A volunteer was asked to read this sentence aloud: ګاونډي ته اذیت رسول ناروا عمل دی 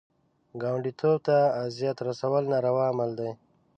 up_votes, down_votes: 0, 2